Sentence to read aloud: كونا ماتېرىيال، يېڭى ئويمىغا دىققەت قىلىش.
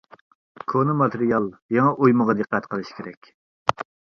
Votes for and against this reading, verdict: 0, 2, rejected